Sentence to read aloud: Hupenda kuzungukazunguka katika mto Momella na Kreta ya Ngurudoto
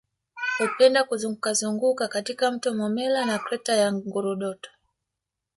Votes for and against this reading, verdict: 0, 2, rejected